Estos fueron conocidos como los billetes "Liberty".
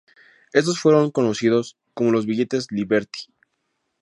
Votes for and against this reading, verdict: 2, 0, accepted